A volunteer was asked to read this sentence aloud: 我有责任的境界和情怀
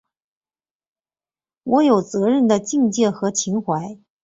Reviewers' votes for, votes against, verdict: 2, 0, accepted